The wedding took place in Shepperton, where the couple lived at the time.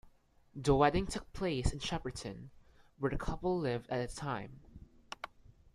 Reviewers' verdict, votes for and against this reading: accepted, 2, 1